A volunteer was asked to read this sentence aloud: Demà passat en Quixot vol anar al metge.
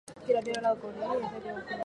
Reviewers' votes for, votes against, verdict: 2, 2, rejected